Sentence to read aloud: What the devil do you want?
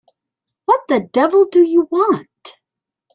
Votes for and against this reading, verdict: 2, 0, accepted